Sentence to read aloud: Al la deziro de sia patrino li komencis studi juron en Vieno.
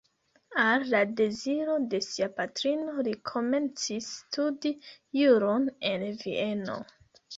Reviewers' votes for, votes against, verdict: 2, 0, accepted